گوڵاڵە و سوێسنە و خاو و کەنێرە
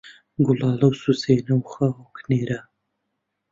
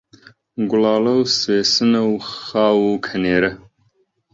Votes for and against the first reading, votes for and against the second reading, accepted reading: 0, 2, 2, 1, second